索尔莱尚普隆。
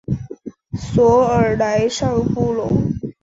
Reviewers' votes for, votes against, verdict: 5, 0, accepted